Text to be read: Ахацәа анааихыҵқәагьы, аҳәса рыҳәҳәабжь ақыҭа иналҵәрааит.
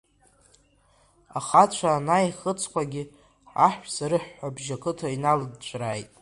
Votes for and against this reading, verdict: 1, 2, rejected